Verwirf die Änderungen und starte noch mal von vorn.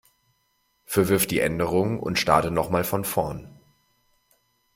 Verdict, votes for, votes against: accepted, 2, 0